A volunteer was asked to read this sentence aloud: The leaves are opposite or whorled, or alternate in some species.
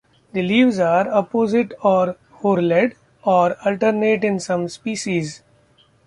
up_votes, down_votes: 1, 2